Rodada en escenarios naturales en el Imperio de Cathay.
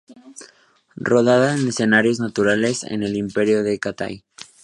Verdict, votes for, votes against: accepted, 2, 0